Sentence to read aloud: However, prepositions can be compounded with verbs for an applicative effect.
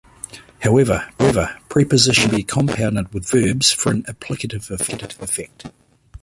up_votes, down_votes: 1, 2